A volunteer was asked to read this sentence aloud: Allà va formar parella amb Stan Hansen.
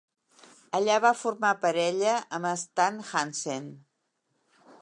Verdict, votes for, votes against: accepted, 2, 0